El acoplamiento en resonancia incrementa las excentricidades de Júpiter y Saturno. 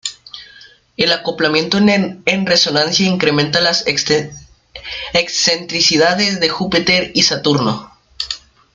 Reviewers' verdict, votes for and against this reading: rejected, 1, 2